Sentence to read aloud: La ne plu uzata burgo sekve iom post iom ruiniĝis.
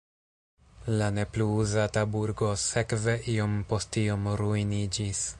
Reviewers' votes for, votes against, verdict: 2, 1, accepted